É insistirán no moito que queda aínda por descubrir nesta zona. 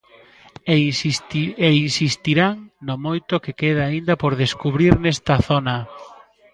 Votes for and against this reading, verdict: 1, 2, rejected